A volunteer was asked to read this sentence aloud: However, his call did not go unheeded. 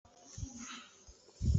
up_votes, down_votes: 0, 2